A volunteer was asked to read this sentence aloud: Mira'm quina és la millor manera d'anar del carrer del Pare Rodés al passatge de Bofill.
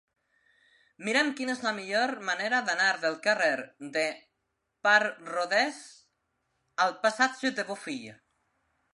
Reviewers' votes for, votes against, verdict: 0, 2, rejected